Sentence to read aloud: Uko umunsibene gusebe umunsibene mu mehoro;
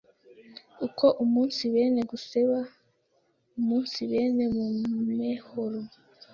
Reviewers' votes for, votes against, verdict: 1, 2, rejected